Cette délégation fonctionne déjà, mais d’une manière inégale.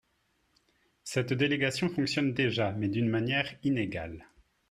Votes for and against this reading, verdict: 5, 0, accepted